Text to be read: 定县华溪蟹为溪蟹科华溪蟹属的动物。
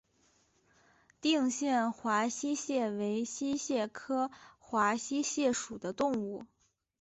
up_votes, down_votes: 5, 0